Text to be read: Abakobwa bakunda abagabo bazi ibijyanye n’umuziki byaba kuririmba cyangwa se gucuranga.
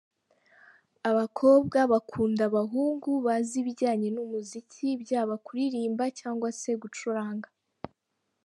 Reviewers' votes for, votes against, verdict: 1, 2, rejected